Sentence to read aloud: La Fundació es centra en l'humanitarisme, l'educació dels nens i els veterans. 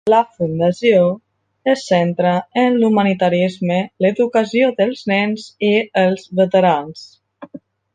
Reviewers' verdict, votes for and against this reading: accepted, 2, 0